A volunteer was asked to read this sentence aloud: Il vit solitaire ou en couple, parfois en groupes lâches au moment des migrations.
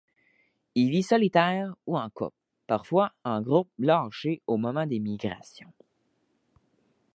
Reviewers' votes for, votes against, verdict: 1, 2, rejected